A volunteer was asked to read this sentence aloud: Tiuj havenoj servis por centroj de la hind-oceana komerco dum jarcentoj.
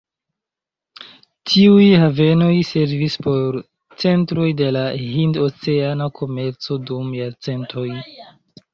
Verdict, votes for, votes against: accepted, 2, 0